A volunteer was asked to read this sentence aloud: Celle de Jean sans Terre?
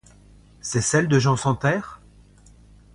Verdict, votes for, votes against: rejected, 0, 2